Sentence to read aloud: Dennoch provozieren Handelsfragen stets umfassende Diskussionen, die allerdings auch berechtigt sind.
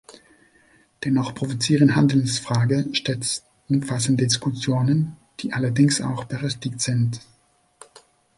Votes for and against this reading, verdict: 0, 2, rejected